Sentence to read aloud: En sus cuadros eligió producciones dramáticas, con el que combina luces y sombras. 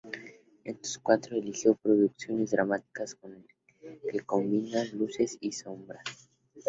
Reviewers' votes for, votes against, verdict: 0, 2, rejected